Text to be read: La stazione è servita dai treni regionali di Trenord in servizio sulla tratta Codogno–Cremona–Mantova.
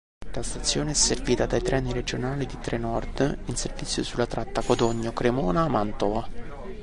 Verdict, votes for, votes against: rejected, 1, 2